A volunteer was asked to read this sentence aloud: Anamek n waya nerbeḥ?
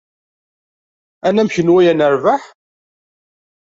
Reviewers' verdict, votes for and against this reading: accepted, 2, 0